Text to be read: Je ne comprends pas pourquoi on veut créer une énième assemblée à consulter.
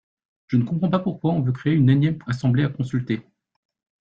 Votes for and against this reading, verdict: 2, 0, accepted